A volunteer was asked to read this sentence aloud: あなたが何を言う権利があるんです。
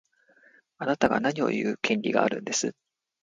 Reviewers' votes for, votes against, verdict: 2, 0, accepted